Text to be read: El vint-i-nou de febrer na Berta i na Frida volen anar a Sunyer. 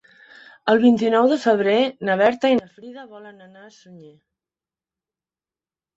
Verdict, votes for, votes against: rejected, 0, 2